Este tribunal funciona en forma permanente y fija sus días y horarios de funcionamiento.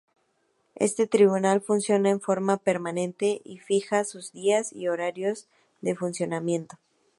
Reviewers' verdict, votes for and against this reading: accepted, 2, 0